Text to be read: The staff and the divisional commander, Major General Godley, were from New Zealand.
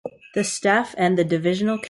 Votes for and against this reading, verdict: 0, 2, rejected